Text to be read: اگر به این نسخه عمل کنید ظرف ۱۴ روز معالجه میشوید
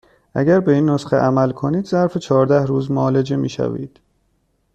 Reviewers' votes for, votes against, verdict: 0, 2, rejected